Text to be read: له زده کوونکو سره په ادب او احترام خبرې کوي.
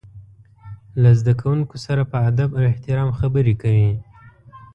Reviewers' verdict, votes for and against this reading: rejected, 1, 2